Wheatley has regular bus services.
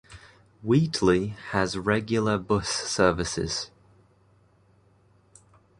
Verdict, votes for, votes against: accepted, 2, 0